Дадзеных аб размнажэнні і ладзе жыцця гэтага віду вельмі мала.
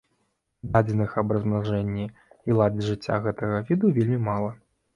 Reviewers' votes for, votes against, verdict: 2, 0, accepted